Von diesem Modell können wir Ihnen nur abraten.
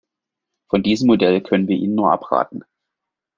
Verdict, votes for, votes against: accepted, 2, 0